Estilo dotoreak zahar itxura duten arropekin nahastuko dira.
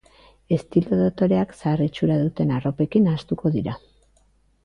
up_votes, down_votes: 3, 0